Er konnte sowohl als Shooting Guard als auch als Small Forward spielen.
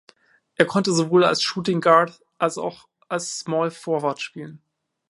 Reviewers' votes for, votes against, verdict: 2, 0, accepted